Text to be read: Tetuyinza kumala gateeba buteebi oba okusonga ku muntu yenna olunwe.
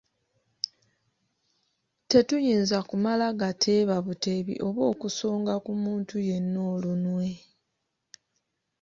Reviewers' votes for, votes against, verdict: 0, 2, rejected